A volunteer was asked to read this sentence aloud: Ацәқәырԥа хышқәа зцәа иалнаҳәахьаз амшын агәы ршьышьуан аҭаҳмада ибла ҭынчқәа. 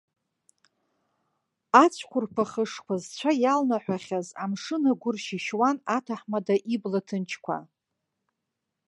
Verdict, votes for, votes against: accepted, 2, 1